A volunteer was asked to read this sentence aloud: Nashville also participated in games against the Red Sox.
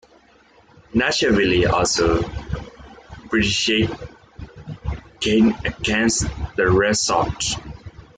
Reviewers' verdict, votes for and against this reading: rejected, 1, 2